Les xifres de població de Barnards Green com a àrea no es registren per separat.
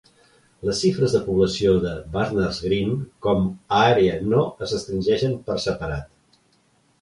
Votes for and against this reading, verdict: 0, 2, rejected